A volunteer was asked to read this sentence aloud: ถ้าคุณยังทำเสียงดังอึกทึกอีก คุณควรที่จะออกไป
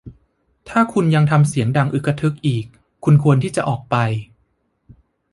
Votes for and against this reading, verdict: 2, 1, accepted